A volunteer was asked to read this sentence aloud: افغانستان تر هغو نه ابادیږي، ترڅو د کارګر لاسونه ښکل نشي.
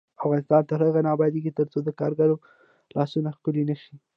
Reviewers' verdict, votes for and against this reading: rejected, 0, 2